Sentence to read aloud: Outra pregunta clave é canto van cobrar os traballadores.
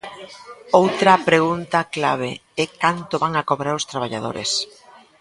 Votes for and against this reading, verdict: 0, 2, rejected